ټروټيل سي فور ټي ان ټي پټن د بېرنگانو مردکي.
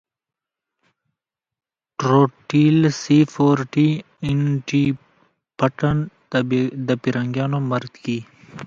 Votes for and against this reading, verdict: 1, 2, rejected